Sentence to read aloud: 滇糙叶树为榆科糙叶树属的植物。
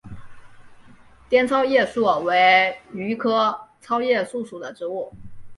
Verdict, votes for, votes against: accepted, 2, 1